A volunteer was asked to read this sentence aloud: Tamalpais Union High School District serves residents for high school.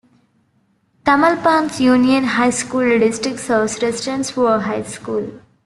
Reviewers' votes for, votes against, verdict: 1, 2, rejected